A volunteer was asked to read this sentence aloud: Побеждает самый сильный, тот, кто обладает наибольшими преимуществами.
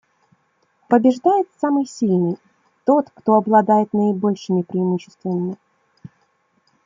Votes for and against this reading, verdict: 2, 0, accepted